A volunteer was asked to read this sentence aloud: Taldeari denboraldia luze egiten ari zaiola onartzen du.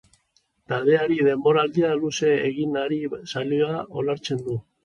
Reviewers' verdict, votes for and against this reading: rejected, 0, 4